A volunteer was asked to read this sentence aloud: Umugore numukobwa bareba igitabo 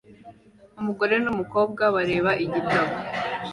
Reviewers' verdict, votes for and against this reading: accepted, 2, 1